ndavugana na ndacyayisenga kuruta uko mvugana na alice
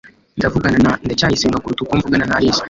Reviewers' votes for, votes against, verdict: 2, 0, accepted